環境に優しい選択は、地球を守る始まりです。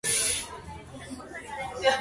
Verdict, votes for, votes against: rejected, 0, 2